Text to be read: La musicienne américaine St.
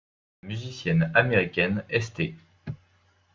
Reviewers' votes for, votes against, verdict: 1, 2, rejected